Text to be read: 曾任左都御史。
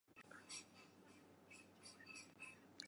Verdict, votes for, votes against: rejected, 4, 7